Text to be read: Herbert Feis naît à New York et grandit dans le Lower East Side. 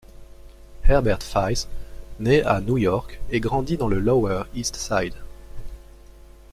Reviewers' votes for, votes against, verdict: 1, 2, rejected